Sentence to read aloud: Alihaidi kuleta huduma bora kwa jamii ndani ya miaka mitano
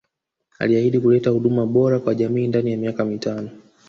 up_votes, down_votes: 4, 0